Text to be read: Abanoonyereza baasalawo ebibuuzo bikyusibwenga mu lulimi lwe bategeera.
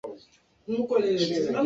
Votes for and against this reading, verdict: 0, 2, rejected